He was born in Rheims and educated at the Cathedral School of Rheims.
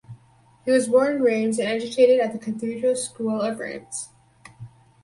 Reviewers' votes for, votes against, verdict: 2, 2, rejected